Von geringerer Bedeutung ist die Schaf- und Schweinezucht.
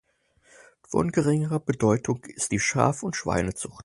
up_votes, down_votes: 4, 0